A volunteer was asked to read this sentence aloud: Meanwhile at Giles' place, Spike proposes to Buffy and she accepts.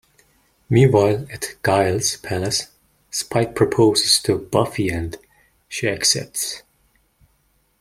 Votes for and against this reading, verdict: 0, 2, rejected